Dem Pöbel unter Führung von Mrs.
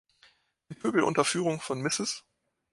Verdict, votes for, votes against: rejected, 1, 3